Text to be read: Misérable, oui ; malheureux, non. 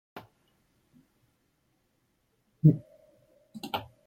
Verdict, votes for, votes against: rejected, 0, 2